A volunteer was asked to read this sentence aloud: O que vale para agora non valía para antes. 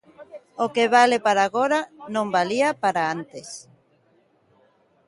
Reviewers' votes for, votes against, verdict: 1, 2, rejected